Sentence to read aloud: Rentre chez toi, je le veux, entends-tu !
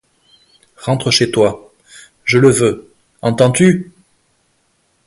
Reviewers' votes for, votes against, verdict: 2, 0, accepted